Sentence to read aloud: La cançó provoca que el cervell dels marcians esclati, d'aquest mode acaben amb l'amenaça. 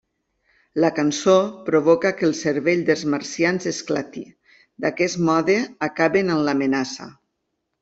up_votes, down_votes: 2, 0